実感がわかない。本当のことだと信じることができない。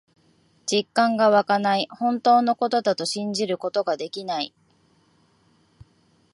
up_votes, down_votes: 2, 0